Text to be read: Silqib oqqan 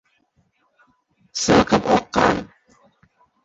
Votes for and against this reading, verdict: 0, 2, rejected